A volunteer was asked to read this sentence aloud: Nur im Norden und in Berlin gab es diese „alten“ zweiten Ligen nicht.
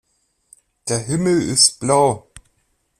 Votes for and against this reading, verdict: 0, 2, rejected